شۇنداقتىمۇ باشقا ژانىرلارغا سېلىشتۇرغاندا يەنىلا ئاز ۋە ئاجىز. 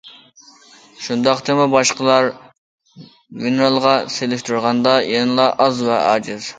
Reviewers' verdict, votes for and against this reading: rejected, 0, 2